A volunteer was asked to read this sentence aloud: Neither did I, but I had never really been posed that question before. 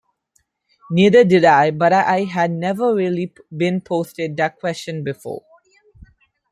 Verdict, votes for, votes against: rejected, 1, 2